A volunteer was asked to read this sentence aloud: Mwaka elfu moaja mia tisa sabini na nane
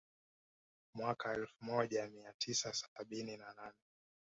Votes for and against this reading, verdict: 2, 0, accepted